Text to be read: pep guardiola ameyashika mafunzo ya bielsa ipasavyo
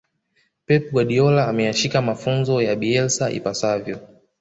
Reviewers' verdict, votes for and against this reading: accepted, 2, 0